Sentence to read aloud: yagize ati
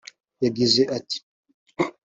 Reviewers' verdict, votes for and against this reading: accepted, 4, 0